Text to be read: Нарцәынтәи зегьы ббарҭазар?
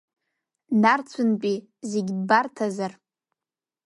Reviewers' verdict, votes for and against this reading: accepted, 2, 1